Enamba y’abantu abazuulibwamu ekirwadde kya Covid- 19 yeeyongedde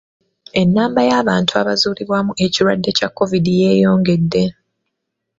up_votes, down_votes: 0, 2